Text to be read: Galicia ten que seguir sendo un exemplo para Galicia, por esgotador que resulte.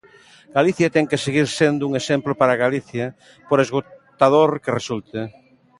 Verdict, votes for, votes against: accepted, 2, 1